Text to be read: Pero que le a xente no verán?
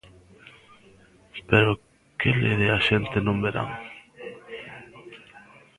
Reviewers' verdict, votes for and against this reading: rejected, 0, 2